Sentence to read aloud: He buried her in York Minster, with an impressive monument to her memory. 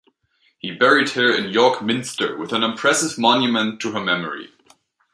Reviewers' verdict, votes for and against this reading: rejected, 0, 2